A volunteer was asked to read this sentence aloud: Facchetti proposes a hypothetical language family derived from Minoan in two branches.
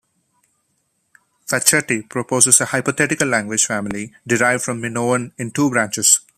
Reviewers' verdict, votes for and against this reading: accepted, 2, 0